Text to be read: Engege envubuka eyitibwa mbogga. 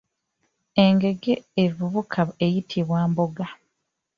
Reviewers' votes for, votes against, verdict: 1, 2, rejected